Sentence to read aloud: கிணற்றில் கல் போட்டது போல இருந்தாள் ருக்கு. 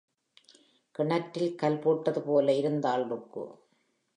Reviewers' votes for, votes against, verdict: 2, 0, accepted